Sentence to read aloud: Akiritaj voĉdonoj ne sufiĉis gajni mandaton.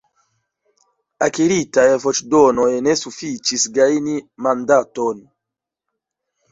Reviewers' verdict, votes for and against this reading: rejected, 1, 2